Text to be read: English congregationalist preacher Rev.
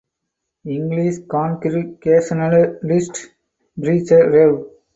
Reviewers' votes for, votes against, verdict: 2, 4, rejected